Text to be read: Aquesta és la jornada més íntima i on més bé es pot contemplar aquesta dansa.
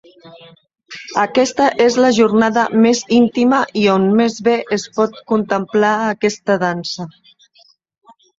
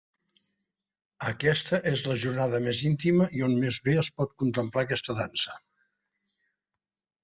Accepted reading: second